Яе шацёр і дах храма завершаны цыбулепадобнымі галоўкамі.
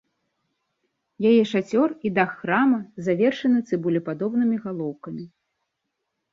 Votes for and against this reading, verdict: 2, 0, accepted